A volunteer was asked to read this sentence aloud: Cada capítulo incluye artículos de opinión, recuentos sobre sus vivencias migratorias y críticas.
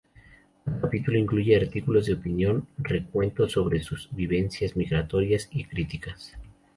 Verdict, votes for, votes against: rejected, 0, 2